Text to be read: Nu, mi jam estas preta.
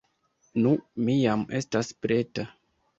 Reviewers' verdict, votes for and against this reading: accepted, 2, 0